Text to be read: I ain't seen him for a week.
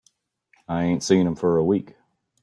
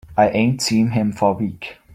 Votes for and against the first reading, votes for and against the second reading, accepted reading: 2, 0, 0, 2, first